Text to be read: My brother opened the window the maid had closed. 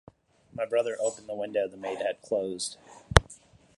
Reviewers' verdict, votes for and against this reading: accepted, 2, 0